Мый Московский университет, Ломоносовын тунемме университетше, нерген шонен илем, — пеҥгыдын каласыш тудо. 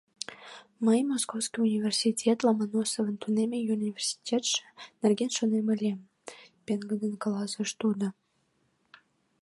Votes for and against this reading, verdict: 0, 2, rejected